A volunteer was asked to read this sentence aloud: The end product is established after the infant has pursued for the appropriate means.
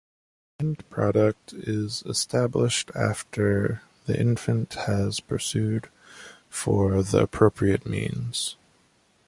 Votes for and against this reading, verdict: 1, 2, rejected